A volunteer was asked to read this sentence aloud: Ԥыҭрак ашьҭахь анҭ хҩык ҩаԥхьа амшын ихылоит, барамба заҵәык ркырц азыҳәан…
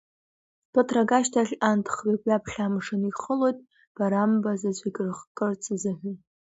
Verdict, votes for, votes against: accepted, 2, 0